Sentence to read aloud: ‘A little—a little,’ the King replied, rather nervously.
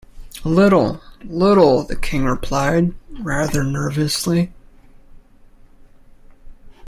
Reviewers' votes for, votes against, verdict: 1, 2, rejected